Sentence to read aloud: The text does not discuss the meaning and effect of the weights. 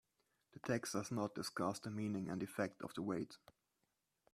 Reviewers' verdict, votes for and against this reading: rejected, 1, 2